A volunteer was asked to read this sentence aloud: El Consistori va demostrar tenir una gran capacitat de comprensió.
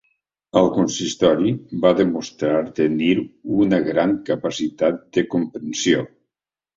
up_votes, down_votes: 3, 0